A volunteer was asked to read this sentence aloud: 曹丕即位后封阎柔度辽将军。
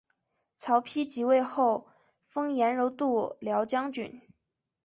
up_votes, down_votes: 2, 1